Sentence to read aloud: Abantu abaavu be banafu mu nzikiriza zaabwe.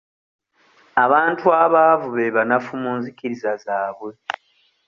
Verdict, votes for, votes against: accepted, 2, 0